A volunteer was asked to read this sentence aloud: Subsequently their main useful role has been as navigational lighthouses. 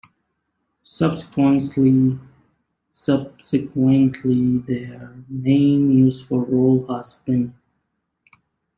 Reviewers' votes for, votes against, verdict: 0, 2, rejected